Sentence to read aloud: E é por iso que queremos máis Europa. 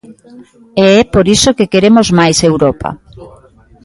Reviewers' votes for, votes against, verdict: 2, 0, accepted